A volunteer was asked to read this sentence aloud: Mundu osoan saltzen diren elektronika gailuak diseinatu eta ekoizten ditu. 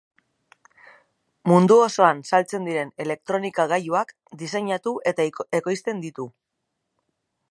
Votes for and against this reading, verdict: 0, 2, rejected